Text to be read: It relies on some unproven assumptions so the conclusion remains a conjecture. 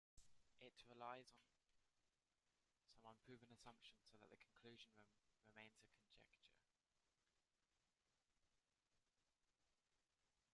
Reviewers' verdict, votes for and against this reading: rejected, 1, 2